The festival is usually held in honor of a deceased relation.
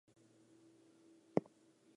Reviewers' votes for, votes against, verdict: 0, 4, rejected